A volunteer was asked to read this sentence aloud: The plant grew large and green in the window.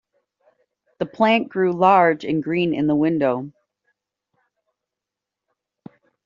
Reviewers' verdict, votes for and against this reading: accepted, 2, 0